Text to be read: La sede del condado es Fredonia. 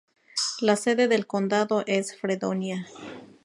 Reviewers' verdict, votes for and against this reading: rejected, 2, 2